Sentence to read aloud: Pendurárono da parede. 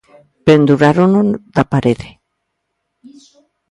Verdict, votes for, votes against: rejected, 1, 2